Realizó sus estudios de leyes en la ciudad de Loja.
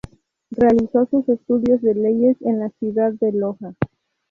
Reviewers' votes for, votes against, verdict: 0, 2, rejected